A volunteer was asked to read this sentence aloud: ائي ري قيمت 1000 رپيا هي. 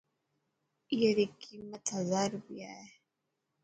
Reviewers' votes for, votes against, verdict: 0, 2, rejected